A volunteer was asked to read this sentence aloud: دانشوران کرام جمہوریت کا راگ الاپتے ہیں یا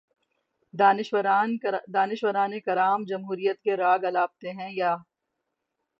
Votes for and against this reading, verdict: 0, 6, rejected